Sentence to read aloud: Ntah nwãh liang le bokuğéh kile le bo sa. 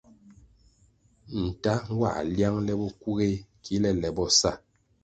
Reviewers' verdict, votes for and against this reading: accepted, 2, 0